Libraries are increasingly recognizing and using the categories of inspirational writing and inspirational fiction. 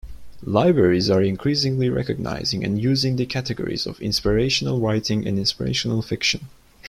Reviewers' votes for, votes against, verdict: 2, 0, accepted